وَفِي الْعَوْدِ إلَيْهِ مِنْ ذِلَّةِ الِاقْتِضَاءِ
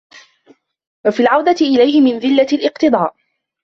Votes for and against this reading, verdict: 0, 2, rejected